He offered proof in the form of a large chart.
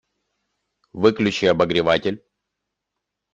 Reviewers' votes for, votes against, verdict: 0, 2, rejected